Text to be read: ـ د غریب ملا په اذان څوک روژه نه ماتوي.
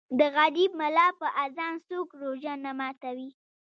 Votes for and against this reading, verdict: 1, 2, rejected